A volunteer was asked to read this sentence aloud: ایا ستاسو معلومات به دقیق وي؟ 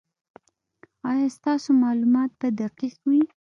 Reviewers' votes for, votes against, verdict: 1, 2, rejected